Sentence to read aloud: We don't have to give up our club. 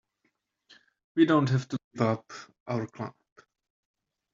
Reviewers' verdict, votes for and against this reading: rejected, 2, 3